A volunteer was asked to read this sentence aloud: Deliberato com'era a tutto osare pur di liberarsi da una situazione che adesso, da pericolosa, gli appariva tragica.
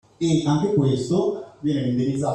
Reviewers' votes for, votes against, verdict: 0, 2, rejected